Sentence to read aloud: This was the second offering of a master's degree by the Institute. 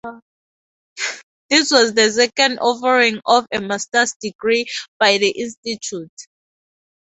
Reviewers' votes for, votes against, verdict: 2, 0, accepted